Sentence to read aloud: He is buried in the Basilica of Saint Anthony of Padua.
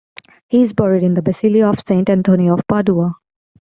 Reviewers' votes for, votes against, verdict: 1, 2, rejected